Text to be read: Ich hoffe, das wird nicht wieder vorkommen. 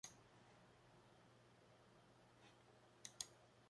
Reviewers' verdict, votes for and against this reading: rejected, 0, 2